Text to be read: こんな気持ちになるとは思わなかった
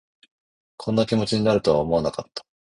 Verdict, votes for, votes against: rejected, 1, 2